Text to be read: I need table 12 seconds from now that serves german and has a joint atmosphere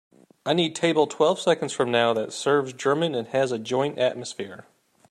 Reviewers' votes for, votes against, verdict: 0, 2, rejected